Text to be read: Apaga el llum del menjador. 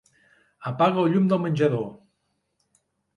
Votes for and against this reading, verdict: 3, 0, accepted